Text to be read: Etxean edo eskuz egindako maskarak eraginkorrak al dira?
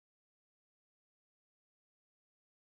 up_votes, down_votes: 0, 2